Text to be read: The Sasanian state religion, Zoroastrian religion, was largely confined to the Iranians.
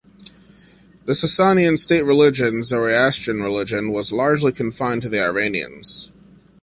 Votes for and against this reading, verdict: 2, 1, accepted